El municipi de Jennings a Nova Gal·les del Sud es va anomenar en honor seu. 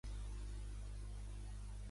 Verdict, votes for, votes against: rejected, 0, 2